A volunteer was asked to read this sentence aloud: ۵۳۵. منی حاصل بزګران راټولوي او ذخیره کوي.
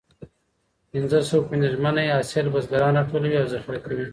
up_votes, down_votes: 0, 2